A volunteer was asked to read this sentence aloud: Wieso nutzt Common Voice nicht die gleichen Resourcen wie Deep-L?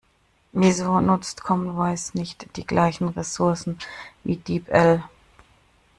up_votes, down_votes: 1, 2